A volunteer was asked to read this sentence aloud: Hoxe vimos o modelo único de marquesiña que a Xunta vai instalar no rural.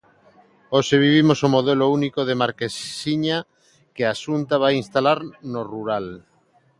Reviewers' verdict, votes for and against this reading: rejected, 0, 2